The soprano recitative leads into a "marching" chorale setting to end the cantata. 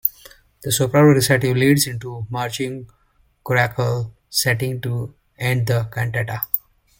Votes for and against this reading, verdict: 1, 2, rejected